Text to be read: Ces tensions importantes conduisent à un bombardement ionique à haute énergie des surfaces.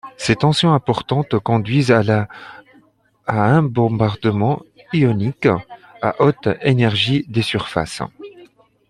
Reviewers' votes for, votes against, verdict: 0, 2, rejected